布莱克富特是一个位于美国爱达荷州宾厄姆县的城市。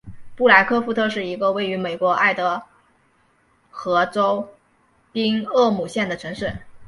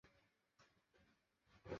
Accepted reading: first